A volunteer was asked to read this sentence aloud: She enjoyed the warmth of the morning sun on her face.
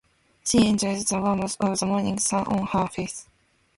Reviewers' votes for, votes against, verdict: 2, 1, accepted